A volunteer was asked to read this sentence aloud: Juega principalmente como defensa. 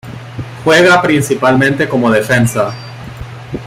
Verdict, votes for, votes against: accepted, 2, 0